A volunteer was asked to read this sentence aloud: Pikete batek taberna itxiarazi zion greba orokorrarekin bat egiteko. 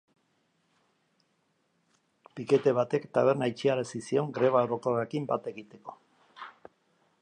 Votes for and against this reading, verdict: 2, 0, accepted